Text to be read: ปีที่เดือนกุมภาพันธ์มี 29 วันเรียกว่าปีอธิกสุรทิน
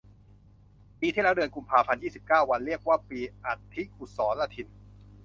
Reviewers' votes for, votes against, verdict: 0, 2, rejected